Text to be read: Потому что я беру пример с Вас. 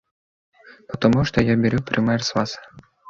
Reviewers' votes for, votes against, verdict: 2, 0, accepted